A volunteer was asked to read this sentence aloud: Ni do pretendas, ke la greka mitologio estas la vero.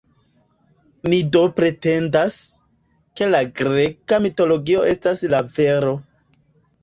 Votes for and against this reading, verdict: 2, 0, accepted